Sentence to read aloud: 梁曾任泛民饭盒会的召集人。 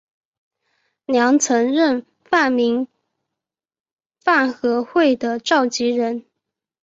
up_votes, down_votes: 3, 0